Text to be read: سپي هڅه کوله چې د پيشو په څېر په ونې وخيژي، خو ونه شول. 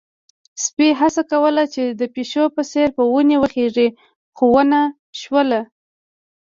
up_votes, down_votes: 2, 1